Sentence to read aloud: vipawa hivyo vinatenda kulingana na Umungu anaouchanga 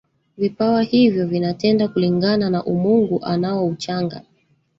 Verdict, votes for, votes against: rejected, 1, 2